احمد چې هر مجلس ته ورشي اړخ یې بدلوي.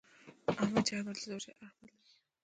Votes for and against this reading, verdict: 0, 2, rejected